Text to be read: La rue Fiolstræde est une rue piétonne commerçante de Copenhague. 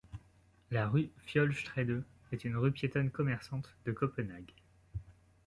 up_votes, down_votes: 2, 0